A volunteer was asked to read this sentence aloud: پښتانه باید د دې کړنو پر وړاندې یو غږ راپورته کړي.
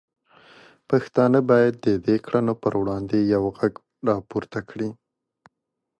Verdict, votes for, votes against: accepted, 2, 0